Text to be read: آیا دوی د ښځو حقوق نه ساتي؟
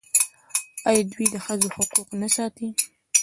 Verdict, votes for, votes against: accepted, 2, 1